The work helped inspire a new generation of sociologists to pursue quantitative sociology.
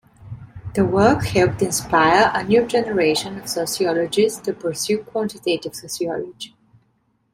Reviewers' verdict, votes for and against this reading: rejected, 1, 2